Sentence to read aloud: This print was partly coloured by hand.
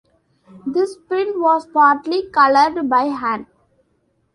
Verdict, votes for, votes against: accepted, 2, 0